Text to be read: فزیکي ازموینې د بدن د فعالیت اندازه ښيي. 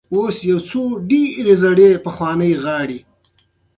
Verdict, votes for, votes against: rejected, 1, 2